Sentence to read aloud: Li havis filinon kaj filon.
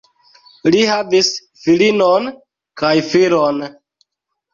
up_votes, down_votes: 0, 2